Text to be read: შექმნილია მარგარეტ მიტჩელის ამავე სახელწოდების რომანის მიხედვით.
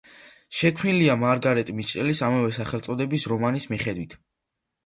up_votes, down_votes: 2, 0